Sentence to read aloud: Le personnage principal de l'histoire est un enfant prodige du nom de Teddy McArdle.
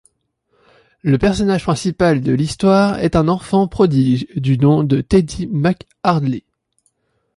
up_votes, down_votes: 0, 2